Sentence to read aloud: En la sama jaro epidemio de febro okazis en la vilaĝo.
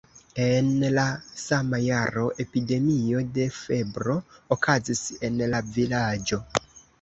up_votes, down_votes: 2, 0